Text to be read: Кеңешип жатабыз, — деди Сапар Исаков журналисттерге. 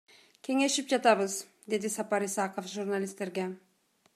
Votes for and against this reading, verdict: 2, 0, accepted